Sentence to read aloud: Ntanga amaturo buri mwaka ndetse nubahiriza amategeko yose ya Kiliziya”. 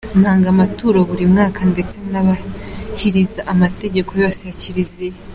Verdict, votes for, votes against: accepted, 2, 1